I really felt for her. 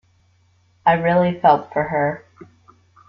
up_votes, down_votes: 2, 0